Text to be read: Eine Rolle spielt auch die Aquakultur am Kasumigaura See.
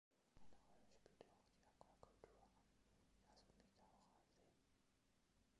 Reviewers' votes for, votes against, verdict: 0, 2, rejected